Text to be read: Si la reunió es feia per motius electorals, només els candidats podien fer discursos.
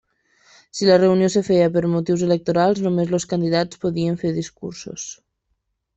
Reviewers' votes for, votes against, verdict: 0, 2, rejected